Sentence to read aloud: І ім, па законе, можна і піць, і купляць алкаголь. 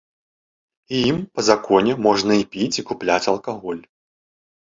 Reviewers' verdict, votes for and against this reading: accepted, 2, 0